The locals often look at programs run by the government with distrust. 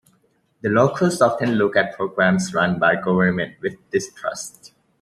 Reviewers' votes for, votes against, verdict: 0, 2, rejected